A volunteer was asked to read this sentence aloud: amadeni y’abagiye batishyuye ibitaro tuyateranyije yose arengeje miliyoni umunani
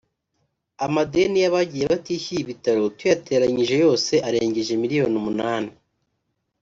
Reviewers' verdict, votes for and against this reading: rejected, 0, 2